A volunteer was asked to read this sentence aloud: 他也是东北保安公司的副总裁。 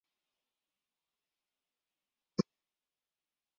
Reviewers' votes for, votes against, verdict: 0, 3, rejected